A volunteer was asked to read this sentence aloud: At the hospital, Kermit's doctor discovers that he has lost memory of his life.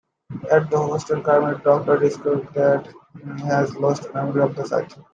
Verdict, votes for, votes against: rejected, 0, 2